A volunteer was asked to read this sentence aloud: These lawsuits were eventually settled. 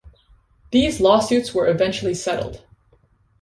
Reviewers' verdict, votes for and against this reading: accepted, 2, 0